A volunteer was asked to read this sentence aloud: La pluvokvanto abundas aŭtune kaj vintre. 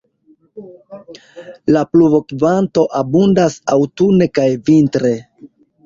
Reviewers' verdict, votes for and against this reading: accepted, 2, 0